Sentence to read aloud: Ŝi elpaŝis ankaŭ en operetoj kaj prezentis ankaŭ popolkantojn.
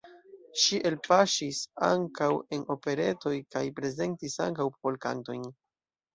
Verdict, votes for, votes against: rejected, 0, 2